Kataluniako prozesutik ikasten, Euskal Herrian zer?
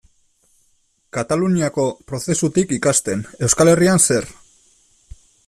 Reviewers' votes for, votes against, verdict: 2, 0, accepted